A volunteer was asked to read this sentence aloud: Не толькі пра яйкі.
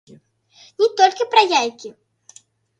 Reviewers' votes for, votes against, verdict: 1, 3, rejected